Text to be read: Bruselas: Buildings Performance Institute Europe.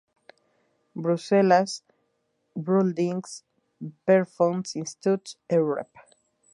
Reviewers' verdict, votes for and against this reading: rejected, 0, 2